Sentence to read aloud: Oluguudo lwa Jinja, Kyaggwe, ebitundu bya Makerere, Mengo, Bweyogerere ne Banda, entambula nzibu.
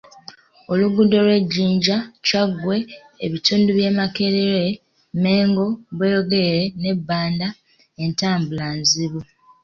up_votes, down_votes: 2, 0